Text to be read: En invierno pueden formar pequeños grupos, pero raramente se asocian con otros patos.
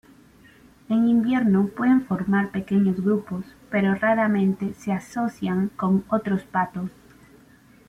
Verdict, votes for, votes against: rejected, 1, 2